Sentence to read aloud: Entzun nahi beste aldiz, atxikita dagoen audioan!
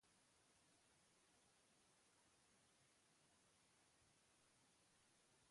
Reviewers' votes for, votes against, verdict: 0, 3, rejected